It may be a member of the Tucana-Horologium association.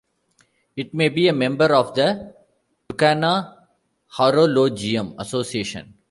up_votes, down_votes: 1, 2